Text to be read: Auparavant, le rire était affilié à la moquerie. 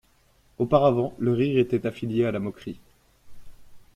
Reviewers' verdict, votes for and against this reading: accepted, 2, 0